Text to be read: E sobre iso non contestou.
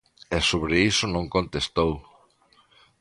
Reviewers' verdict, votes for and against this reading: accepted, 2, 0